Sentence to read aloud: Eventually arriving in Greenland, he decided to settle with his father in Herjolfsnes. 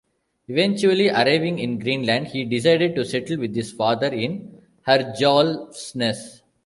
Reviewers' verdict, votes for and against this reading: accepted, 2, 0